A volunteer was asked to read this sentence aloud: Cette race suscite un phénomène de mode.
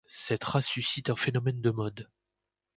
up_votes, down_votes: 2, 0